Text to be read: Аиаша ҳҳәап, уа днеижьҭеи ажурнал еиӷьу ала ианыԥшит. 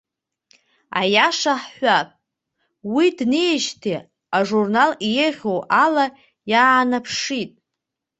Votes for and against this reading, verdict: 0, 2, rejected